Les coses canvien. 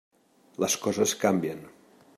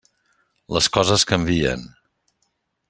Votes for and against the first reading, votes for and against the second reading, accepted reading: 0, 2, 3, 0, second